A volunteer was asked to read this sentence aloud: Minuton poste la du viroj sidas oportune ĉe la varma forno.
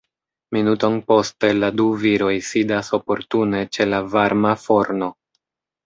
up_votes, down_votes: 1, 2